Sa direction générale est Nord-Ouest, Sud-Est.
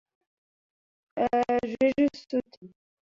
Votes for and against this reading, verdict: 0, 2, rejected